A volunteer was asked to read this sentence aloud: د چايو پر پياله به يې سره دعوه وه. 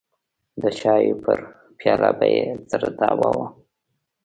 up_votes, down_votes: 1, 2